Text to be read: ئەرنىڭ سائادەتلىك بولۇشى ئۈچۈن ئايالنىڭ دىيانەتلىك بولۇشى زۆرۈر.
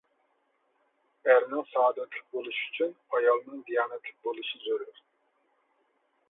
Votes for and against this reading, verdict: 2, 0, accepted